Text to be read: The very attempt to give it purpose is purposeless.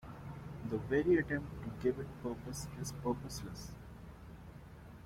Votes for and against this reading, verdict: 0, 2, rejected